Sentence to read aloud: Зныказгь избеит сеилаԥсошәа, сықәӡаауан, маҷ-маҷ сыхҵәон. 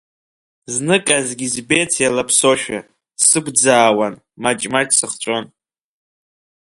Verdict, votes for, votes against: rejected, 0, 2